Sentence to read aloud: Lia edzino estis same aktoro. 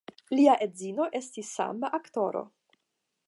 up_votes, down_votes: 5, 5